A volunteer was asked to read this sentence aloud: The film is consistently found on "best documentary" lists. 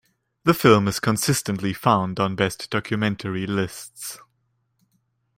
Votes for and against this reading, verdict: 2, 0, accepted